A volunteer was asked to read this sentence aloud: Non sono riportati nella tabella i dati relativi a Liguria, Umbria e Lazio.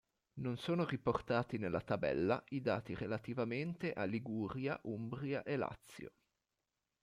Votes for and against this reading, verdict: 0, 2, rejected